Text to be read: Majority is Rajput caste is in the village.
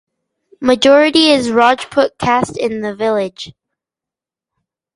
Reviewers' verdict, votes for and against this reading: rejected, 0, 4